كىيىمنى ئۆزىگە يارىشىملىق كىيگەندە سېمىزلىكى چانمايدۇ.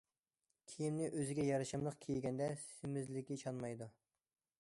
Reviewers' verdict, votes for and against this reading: accepted, 2, 0